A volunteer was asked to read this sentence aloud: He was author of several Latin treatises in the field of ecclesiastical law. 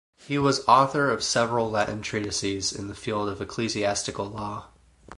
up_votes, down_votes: 4, 0